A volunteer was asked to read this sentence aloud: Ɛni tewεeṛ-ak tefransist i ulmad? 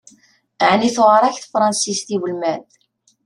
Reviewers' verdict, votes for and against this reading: accepted, 2, 0